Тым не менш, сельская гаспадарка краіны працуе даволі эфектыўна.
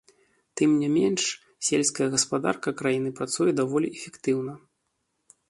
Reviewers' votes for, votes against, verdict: 1, 2, rejected